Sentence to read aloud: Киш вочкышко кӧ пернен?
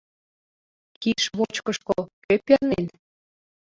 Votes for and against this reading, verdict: 0, 2, rejected